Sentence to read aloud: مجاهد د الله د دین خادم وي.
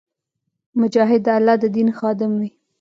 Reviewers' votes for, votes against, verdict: 1, 2, rejected